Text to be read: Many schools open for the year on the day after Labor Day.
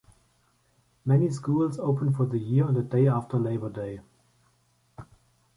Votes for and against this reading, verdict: 2, 0, accepted